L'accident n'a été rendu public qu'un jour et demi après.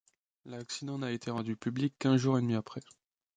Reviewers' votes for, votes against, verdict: 2, 0, accepted